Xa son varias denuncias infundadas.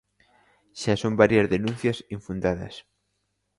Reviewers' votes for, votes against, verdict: 2, 0, accepted